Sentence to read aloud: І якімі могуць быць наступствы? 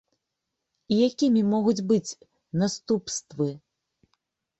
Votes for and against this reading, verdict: 2, 0, accepted